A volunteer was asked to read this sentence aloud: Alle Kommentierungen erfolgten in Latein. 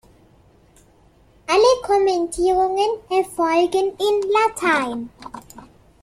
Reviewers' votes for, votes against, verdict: 1, 2, rejected